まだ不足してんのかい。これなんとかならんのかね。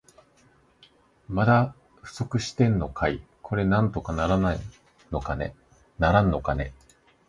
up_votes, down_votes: 1, 2